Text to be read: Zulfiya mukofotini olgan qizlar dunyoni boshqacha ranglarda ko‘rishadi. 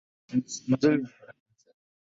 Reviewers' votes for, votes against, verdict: 0, 2, rejected